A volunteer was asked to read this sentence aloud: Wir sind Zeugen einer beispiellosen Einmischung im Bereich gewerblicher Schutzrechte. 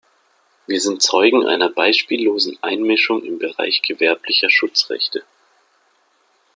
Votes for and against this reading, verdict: 2, 0, accepted